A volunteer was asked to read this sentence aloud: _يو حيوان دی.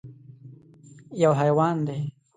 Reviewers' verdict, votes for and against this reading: accepted, 2, 0